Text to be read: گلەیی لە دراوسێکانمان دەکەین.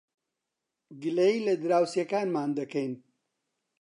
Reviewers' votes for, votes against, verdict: 2, 0, accepted